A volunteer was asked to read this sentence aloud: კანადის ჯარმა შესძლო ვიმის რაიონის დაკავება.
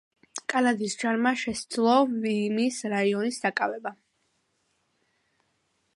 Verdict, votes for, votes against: accepted, 2, 0